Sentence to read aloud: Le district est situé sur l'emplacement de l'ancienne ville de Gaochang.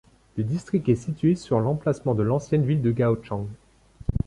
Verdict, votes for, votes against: accepted, 2, 1